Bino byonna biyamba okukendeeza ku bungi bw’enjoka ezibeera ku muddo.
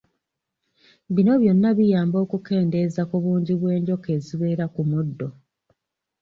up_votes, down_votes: 2, 0